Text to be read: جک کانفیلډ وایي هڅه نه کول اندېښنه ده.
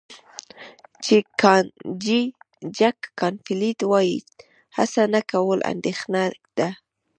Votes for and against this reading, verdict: 0, 2, rejected